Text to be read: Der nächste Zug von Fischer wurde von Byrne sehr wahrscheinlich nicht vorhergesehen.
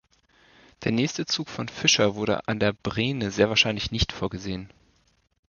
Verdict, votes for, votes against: rejected, 0, 2